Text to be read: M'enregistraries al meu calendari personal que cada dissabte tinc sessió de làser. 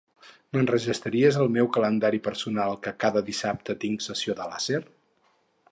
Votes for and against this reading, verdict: 2, 0, accepted